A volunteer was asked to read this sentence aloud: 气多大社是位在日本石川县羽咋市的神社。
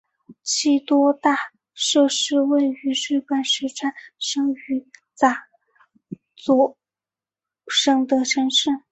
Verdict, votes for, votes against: rejected, 0, 3